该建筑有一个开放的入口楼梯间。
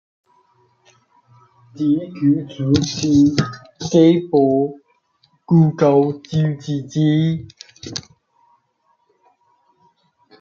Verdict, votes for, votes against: rejected, 0, 3